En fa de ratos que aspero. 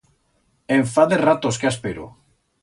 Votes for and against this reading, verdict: 2, 0, accepted